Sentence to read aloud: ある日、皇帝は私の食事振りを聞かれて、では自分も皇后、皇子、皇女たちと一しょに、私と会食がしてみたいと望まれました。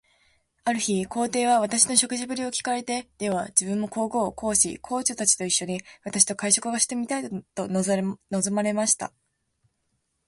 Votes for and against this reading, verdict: 3, 5, rejected